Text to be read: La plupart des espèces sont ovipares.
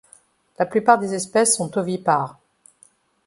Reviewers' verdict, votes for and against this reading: accepted, 2, 0